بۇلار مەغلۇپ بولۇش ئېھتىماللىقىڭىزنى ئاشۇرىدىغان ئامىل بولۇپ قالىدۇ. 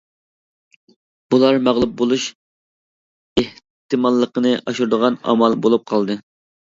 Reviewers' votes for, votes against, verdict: 0, 2, rejected